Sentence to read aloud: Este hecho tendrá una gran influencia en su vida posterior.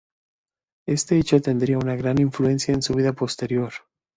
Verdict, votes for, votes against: rejected, 1, 2